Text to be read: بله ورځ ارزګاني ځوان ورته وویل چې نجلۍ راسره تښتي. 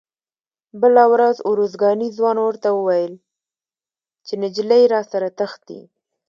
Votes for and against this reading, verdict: 2, 0, accepted